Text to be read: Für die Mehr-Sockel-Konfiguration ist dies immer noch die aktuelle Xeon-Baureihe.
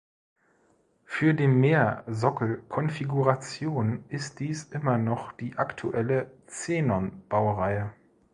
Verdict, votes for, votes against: rejected, 0, 2